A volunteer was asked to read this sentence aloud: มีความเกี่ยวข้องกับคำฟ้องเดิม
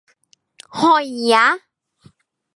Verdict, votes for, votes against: rejected, 1, 2